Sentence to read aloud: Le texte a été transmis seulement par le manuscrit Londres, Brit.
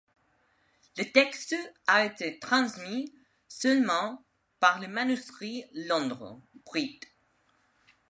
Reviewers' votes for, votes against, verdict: 2, 0, accepted